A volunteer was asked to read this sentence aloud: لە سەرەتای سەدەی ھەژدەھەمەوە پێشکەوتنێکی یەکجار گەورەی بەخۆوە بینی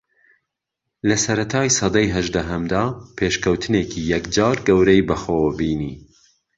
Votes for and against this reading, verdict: 1, 2, rejected